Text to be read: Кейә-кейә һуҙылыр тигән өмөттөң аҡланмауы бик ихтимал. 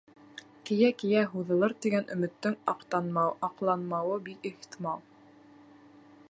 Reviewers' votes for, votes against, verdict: 1, 2, rejected